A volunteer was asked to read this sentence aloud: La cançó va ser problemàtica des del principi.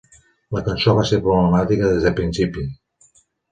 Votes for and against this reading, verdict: 1, 2, rejected